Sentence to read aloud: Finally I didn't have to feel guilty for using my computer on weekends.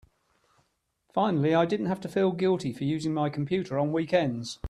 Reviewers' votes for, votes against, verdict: 2, 0, accepted